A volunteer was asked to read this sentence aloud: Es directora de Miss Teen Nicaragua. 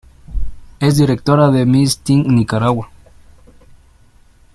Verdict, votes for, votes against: accepted, 2, 0